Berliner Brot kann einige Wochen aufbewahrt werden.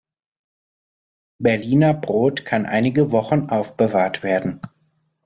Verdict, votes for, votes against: accepted, 2, 0